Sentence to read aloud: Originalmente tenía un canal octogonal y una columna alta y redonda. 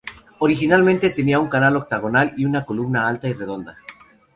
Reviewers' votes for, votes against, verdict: 4, 0, accepted